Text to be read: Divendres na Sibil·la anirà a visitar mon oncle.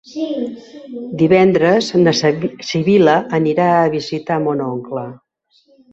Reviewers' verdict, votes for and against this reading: rejected, 1, 3